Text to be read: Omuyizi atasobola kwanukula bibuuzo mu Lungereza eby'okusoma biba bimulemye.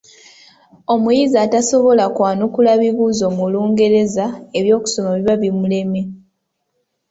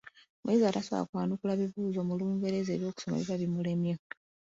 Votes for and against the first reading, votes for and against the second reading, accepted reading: 3, 0, 1, 2, first